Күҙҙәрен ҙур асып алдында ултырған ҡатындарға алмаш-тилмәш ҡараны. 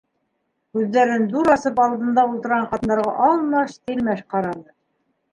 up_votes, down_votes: 0, 2